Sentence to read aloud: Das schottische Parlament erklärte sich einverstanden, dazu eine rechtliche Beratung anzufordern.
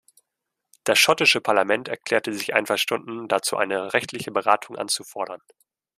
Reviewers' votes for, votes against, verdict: 1, 2, rejected